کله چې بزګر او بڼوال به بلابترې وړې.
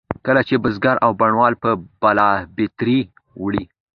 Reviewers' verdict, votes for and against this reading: accepted, 2, 0